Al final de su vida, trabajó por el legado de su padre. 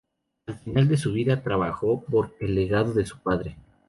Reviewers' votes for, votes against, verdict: 2, 0, accepted